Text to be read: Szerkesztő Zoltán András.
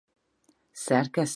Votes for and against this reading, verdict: 0, 4, rejected